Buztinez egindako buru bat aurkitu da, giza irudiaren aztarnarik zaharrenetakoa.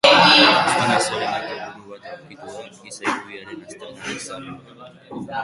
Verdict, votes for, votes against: rejected, 0, 2